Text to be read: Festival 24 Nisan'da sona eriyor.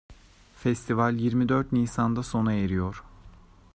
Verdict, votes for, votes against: rejected, 0, 2